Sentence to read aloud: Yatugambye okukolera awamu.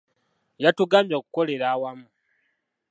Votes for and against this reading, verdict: 2, 1, accepted